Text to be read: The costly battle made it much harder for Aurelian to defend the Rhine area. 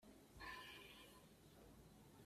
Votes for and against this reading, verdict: 0, 2, rejected